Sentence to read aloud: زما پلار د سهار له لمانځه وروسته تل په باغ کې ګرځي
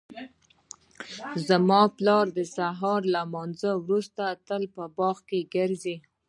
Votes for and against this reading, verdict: 1, 2, rejected